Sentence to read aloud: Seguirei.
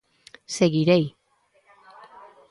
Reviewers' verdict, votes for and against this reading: accepted, 3, 0